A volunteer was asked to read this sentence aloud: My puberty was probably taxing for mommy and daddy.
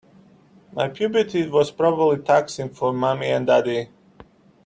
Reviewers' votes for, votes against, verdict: 2, 0, accepted